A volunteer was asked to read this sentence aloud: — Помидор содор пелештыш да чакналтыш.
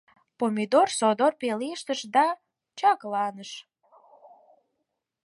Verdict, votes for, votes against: rejected, 2, 8